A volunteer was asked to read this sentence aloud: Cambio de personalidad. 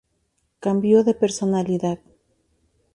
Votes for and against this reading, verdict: 2, 0, accepted